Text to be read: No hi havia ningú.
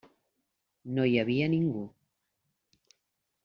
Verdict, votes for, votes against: accepted, 3, 0